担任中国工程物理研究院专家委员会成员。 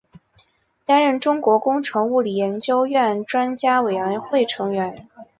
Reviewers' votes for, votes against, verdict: 3, 1, accepted